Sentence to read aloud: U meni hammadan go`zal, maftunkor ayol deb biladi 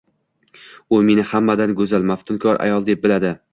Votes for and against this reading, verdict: 1, 2, rejected